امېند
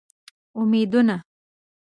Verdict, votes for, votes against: rejected, 1, 7